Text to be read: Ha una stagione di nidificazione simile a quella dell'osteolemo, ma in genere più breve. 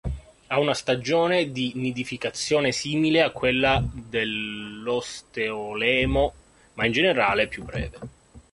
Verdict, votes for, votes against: rejected, 0, 2